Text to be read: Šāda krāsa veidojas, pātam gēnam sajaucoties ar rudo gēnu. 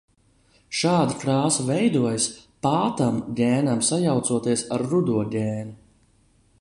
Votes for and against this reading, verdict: 3, 0, accepted